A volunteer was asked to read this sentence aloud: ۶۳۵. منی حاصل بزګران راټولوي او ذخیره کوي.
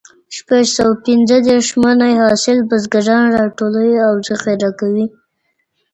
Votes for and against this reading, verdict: 0, 2, rejected